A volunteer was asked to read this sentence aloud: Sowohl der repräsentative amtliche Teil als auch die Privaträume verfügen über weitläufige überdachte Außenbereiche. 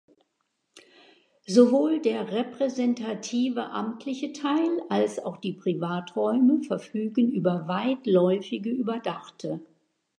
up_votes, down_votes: 0, 2